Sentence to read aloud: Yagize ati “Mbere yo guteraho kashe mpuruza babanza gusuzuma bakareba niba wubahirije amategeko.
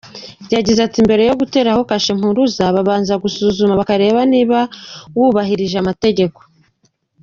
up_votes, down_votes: 2, 0